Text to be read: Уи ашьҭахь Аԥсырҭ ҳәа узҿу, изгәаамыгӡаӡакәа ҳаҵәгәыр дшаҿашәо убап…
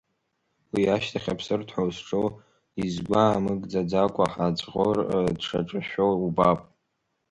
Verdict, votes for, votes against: rejected, 1, 2